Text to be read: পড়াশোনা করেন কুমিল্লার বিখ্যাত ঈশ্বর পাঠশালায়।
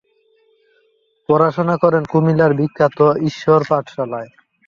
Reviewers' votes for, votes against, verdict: 1, 2, rejected